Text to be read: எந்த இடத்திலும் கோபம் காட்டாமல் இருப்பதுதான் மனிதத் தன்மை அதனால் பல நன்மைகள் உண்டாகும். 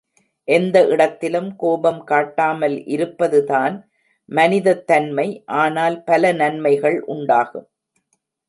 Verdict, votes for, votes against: rejected, 1, 2